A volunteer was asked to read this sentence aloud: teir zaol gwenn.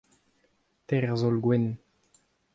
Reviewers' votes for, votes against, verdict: 2, 0, accepted